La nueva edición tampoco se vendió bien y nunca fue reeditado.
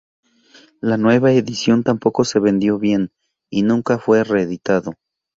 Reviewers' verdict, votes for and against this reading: accepted, 2, 0